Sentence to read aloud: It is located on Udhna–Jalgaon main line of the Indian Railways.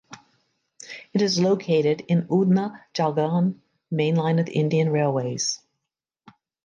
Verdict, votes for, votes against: rejected, 0, 2